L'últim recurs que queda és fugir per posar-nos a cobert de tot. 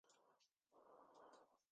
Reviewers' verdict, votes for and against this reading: rejected, 1, 2